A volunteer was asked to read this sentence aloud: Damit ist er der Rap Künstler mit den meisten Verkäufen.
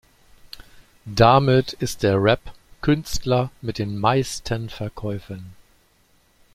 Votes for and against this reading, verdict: 1, 2, rejected